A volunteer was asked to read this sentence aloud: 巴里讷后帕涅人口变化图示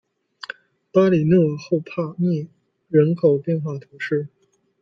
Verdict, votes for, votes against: accepted, 2, 0